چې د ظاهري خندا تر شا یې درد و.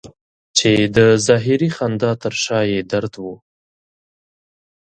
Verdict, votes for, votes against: accepted, 2, 0